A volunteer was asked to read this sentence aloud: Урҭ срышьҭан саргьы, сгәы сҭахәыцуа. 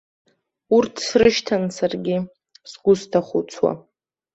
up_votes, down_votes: 2, 0